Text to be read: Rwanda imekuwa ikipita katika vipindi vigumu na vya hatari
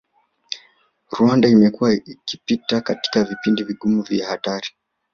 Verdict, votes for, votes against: rejected, 0, 2